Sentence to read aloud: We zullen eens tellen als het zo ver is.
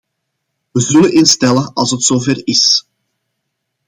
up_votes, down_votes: 2, 0